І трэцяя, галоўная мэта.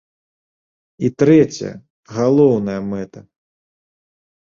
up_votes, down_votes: 3, 0